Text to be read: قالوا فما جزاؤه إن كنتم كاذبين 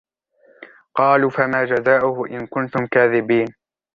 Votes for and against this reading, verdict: 1, 2, rejected